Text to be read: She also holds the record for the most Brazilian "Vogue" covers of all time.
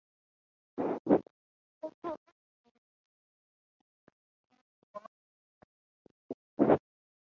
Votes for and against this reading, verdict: 0, 3, rejected